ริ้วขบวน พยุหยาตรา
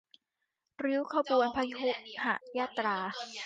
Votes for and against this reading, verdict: 1, 2, rejected